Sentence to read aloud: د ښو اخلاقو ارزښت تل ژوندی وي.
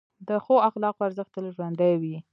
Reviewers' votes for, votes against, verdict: 1, 2, rejected